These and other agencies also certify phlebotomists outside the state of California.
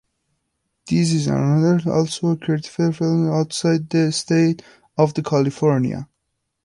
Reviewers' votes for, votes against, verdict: 0, 2, rejected